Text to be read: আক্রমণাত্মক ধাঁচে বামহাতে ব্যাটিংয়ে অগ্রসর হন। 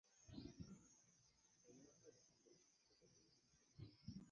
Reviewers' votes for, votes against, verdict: 1, 14, rejected